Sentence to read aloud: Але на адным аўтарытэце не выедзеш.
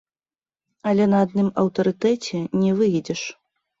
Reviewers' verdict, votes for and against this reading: rejected, 2, 3